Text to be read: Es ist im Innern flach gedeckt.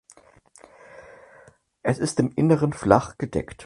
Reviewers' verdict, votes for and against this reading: rejected, 2, 4